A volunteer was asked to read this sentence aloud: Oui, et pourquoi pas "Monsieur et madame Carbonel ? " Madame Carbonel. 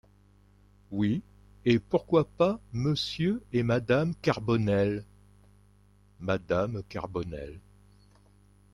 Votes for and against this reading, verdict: 1, 2, rejected